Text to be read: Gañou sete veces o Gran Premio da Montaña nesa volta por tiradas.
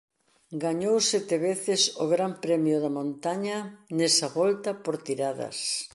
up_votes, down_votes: 2, 0